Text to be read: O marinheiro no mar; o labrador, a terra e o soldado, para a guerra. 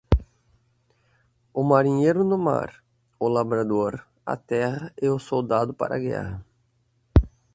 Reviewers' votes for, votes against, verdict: 2, 4, rejected